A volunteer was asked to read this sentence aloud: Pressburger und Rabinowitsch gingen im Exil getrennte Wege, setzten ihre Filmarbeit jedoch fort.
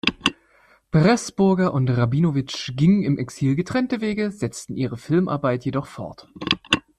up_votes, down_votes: 2, 0